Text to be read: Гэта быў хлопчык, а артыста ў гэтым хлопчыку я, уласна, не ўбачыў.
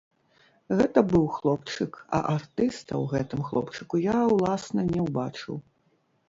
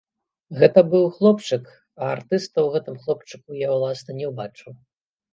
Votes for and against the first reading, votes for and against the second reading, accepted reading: 1, 2, 2, 0, second